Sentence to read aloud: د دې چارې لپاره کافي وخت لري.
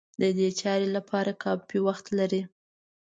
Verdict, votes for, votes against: accepted, 2, 0